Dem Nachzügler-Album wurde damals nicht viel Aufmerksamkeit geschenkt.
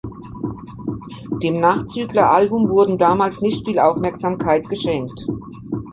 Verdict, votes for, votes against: rejected, 1, 2